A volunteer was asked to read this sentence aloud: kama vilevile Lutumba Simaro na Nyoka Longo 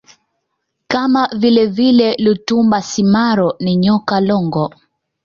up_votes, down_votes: 2, 0